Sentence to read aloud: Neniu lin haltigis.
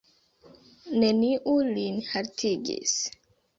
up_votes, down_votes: 2, 0